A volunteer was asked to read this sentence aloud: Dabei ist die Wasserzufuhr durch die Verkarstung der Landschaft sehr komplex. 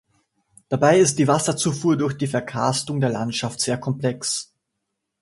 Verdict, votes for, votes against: accepted, 2, 0